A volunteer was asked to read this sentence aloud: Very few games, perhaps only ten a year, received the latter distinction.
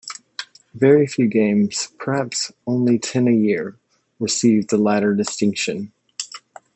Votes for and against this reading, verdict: 2, 0, accepted